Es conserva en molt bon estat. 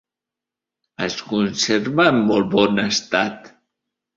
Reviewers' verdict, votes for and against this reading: accepted, 3, 0